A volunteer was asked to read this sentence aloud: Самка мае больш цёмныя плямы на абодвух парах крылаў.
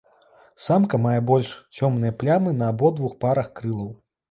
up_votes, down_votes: 2, 0